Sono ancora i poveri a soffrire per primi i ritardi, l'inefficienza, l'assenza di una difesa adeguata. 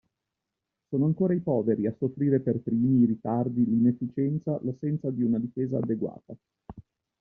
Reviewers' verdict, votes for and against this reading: rejected, 0, 2